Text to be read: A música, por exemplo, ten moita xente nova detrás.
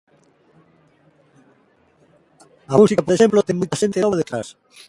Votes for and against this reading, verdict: 0, 2, rejected